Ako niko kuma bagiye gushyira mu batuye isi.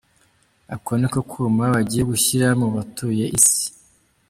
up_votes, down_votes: 2, 1